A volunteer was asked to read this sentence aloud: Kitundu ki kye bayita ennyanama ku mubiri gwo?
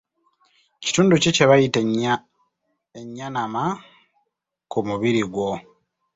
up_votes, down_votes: 3, 4